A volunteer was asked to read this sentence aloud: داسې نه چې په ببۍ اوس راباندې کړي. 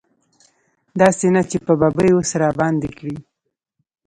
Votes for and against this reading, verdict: 2, 1, accepted